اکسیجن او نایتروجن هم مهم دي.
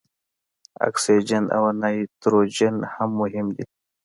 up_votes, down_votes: 2, 0